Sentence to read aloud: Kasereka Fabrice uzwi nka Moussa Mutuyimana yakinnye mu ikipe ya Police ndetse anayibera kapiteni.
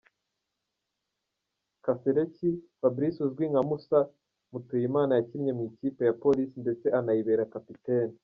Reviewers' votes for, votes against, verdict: 1, 2, rejected